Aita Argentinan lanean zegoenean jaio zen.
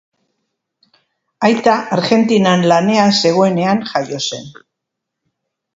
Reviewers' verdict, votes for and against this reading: accepted, 4, 0